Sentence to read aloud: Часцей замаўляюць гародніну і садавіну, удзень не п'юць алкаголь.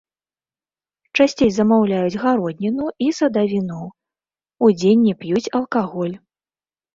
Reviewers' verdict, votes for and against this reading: rejected, 0, 2